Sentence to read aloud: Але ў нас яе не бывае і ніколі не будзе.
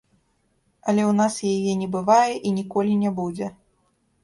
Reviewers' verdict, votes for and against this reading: rejected, 1, 2